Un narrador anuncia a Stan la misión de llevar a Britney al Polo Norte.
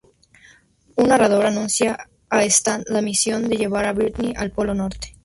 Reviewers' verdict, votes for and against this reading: accepted, 2, 0